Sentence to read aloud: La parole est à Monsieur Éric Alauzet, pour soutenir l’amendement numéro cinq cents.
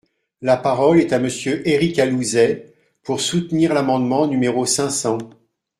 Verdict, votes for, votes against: rejected, 0, 2